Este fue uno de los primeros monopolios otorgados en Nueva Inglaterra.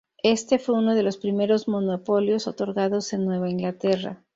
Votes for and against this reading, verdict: 2, 0, accepted